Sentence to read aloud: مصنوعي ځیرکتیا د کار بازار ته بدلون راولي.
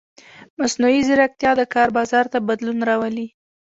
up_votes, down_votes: 2, 0